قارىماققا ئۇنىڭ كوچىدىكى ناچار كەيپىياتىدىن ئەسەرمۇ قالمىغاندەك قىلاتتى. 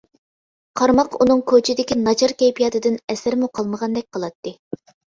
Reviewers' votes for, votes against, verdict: 2, 0, accepted